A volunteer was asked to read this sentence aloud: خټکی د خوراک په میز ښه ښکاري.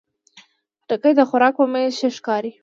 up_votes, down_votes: 2, 0